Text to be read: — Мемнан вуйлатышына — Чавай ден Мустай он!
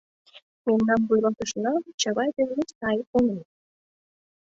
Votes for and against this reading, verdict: 2, 0, accepted